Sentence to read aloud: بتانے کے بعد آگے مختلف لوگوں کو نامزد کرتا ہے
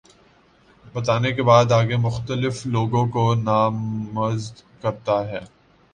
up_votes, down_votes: 2, 1